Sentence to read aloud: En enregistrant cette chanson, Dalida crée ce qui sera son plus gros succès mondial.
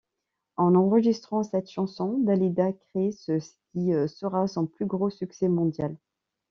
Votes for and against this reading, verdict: 1, 2, rejected